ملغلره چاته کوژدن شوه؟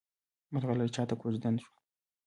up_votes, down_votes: 1, 2